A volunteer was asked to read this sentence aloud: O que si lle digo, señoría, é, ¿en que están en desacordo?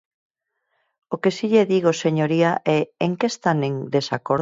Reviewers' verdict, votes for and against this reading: rejected, 0, 4